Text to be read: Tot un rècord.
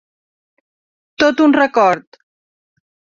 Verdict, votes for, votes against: rejected, 0, 2